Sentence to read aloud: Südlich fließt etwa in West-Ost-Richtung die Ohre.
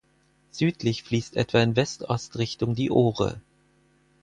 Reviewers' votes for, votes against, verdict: 4, 0, accepted